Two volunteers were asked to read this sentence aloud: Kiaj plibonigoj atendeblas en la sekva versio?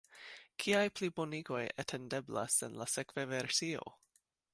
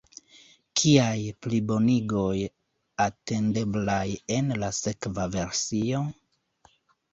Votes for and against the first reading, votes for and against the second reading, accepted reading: 3, 0, 1, 2, first